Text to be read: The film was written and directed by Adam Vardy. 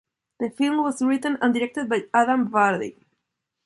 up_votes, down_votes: 2, 0